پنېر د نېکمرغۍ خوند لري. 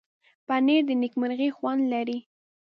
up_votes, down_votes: 2, 0